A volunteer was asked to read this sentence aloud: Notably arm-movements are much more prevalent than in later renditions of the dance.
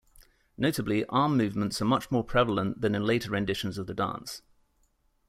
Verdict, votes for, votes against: accepted, 2, 0